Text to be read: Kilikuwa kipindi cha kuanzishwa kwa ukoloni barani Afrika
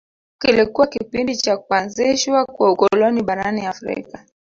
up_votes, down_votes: 1, 2